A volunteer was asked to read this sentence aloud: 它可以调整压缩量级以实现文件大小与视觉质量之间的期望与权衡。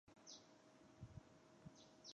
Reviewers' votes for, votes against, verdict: 4, 2, accepted